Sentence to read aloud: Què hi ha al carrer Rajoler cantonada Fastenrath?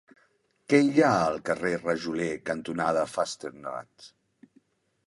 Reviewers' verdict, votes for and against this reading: rejected, 1, 2